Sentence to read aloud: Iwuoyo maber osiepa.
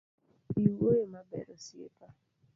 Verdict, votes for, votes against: rejected, 1, 2